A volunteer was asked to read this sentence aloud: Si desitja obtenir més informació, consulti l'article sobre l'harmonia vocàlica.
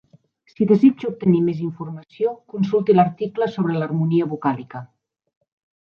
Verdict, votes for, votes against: rejected, 1, 2